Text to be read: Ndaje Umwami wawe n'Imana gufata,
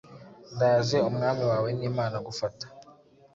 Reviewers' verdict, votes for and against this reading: accepted, 2, 0